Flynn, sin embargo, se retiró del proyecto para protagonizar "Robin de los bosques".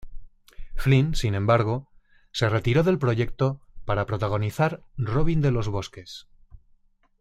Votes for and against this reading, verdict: 2, 0, accepted